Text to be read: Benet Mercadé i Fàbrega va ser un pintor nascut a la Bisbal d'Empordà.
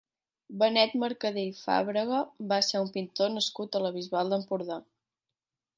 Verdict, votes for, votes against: accepted, 2, 0